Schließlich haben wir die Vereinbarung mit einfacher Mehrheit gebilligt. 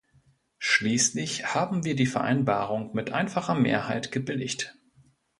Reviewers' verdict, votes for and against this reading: accepted, 2, 0